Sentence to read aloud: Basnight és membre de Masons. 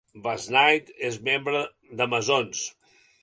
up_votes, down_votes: 2, 0